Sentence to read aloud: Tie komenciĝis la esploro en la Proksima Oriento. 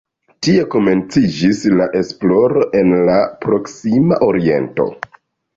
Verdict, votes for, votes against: accepted, 2, 0